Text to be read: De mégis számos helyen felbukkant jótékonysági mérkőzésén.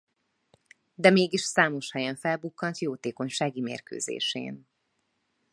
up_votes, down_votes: 2, 0